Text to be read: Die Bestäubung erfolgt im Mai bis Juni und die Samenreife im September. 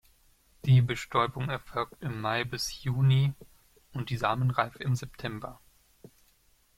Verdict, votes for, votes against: accepted, 2, 0